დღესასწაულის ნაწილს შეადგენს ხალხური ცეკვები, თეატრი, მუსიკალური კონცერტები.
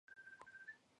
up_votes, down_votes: 1, 2